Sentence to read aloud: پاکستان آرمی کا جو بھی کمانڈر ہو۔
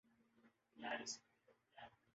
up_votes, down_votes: 0, 2